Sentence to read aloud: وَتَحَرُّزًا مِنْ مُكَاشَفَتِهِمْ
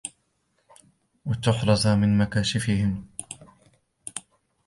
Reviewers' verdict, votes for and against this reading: rejected, 1, 2